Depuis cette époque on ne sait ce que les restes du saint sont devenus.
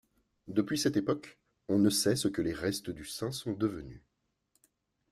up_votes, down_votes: 1, 2